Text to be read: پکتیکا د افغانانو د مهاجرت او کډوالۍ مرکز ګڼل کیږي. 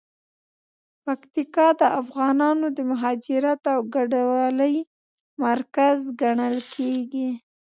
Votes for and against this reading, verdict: 2, 0, accepted